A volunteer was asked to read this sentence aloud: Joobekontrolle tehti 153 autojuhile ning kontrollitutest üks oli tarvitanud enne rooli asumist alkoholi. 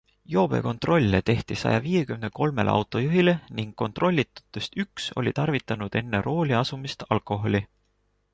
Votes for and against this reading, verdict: 0, 2, rejected